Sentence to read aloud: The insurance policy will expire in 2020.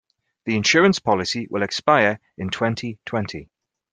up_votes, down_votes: 0, 2